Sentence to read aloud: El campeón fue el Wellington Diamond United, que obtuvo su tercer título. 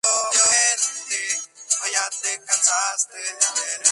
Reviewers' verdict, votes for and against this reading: rejected, 0, 2